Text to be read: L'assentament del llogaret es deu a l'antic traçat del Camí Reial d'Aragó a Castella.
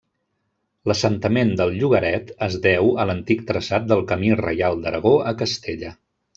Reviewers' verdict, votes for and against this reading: accepted, 3, 0